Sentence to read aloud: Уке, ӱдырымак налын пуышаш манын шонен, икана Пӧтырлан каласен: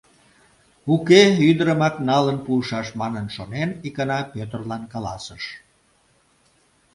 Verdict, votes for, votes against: rejected, 0, 2